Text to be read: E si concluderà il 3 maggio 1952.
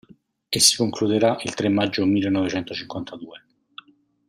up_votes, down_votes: 0, 2